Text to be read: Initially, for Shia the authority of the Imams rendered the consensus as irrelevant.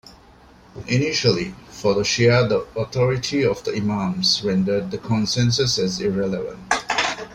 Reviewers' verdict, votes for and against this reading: rejected, 1, 2